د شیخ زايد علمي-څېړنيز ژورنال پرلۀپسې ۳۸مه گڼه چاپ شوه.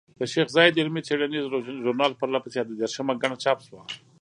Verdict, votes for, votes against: rejected, 0, 2